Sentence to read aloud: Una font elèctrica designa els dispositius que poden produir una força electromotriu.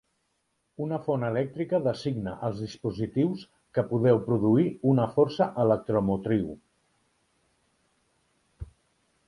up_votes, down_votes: 1, 2